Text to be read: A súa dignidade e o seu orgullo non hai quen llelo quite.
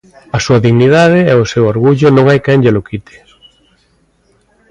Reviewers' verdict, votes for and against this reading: accepted, 2, 0